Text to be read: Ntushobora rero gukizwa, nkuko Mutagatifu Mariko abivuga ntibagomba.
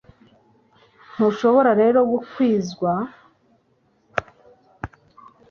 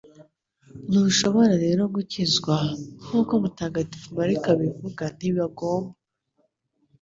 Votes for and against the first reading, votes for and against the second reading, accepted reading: 1, 2, 2, 0, second